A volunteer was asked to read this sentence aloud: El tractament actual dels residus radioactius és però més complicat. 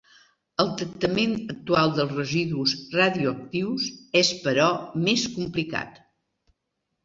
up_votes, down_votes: 2, 0